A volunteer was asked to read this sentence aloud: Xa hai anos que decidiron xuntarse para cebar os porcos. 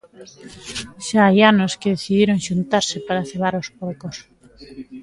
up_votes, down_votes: 2, 0